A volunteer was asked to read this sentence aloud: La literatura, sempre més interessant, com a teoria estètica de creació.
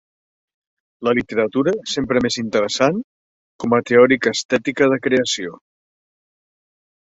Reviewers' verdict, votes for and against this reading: accepted, 2, 1